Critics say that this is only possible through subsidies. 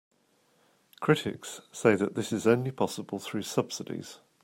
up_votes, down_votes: 2, 0